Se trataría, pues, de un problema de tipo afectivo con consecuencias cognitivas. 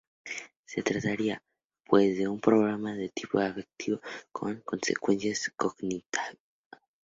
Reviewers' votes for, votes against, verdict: 0, 2, rejected